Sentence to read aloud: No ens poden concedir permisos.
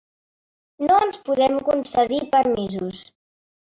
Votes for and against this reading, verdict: 0, 2, rejected